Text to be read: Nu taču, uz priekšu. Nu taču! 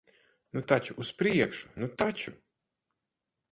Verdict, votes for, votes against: accepted, 4, 0